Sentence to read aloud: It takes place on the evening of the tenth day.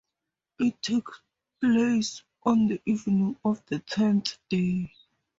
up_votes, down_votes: 2, 0